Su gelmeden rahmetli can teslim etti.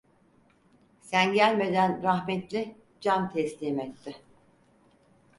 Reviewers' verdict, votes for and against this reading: rejected, 0, 4